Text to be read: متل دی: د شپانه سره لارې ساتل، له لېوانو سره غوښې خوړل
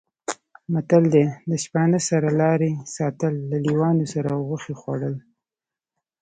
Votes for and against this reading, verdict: 1, 2, rejected